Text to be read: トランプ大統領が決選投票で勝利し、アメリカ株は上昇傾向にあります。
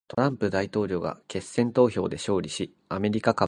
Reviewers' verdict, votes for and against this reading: rejected, 0, 2